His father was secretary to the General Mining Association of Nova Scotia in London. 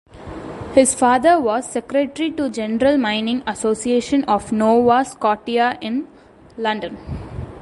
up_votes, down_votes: 1, 2